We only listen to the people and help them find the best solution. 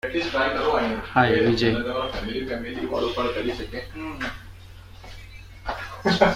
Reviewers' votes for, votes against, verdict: 0, 2, rejected